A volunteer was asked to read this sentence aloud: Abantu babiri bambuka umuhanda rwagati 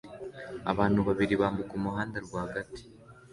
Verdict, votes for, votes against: accepted, 2, 0